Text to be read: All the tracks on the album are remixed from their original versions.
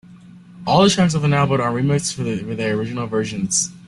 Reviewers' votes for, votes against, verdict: 0, 2, rejected